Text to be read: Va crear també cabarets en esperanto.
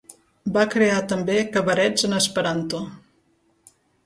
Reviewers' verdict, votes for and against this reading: accepted, 3, 0